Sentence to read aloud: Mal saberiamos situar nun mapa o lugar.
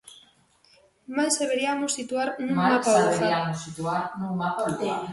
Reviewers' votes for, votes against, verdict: 0, 2, rejected